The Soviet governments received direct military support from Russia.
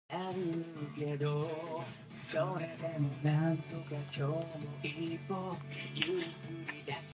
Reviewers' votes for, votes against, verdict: 0, 2, rejected